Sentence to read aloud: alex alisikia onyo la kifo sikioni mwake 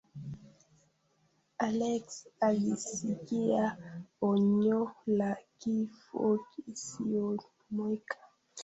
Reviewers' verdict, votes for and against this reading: rejected, 0, 2